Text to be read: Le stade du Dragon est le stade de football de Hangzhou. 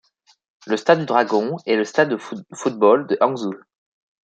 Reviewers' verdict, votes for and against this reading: rejected, 1, 2